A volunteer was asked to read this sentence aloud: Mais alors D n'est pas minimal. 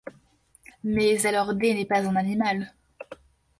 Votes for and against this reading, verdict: 1, 2, rejected